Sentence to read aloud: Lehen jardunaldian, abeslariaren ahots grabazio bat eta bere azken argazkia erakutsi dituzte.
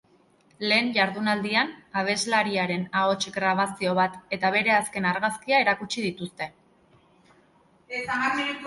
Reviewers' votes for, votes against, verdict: 1, 2, rejected